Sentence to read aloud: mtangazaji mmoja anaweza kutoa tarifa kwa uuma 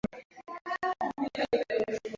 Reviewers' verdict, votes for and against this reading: rejected, 0, 2